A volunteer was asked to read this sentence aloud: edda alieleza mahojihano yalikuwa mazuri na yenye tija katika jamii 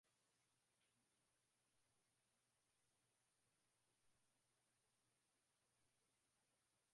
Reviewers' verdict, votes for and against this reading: rejected, 0, 7